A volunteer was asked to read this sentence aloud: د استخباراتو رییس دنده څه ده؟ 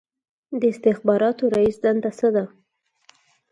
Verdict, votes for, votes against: accepted, 4, 0